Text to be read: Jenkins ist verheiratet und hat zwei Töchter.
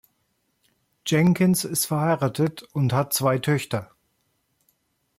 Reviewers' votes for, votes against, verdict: 2, 0, accepted